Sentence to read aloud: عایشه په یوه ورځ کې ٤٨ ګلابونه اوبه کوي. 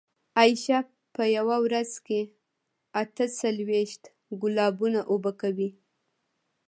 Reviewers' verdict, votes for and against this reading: rejected, 0, 2